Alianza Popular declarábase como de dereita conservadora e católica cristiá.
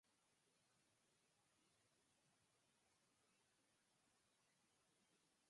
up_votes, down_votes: 2, 6